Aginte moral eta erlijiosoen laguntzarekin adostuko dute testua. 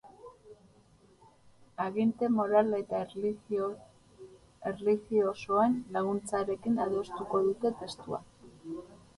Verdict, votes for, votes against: rejected, 0, 4